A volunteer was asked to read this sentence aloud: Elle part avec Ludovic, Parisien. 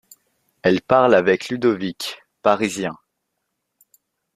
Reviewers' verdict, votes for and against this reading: rejected, 0, 2